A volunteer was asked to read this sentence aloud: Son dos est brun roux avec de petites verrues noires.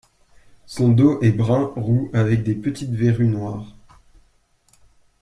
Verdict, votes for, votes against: accepted, 2, 1